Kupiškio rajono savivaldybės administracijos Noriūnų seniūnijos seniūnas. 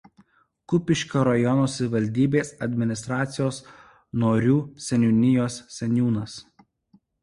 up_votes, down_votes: 1, 2